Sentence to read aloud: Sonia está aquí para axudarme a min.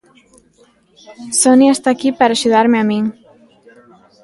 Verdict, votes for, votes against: accepted, 2, 0